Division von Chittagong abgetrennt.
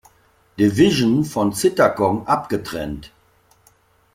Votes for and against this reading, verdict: 1, 2, rejected